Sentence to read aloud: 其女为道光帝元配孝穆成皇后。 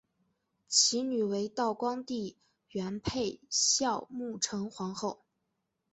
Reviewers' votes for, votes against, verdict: 3, 0, accepted